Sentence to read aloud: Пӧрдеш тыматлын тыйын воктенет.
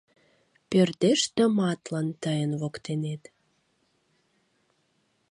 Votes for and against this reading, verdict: 2, 0, accepted